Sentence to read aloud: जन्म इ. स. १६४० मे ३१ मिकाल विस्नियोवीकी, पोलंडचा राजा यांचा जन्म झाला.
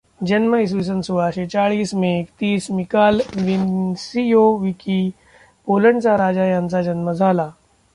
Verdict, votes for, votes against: rejected, 0, 2